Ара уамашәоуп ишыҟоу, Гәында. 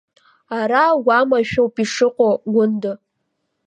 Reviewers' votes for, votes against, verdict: 2, 0, accepted